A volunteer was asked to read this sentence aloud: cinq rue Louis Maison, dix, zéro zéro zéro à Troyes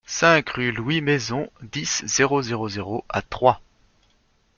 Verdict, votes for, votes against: accepted, 2, 0